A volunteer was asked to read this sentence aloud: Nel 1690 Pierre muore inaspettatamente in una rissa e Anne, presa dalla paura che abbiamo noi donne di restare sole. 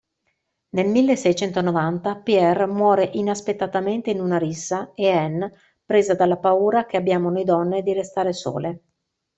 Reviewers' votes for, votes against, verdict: 0, 2, rejected